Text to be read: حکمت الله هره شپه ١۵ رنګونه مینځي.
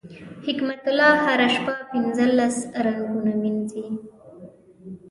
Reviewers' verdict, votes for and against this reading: rejected, 0, 2